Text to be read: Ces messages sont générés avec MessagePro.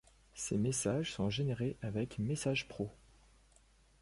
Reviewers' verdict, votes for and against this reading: accepted, 2, 0